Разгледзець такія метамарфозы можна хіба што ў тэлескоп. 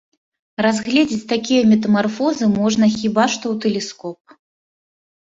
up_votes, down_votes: 2, 0